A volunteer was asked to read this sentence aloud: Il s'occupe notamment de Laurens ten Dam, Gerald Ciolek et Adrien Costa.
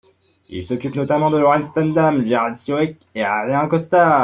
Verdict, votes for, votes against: rejected, 1, 2